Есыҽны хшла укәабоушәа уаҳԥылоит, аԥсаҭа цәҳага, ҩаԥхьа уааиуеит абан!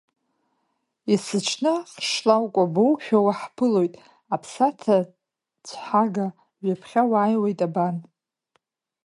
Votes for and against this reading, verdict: 1, 2, rejected